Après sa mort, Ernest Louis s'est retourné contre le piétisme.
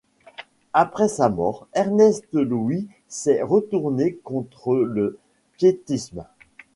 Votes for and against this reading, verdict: 2, 1, accepted